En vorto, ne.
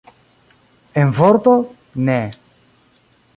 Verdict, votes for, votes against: accepted, 2, 1